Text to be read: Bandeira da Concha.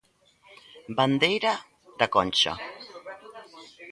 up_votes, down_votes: 0, 2